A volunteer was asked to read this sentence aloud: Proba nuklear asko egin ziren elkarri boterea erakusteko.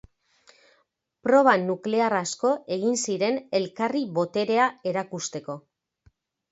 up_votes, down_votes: 2, 0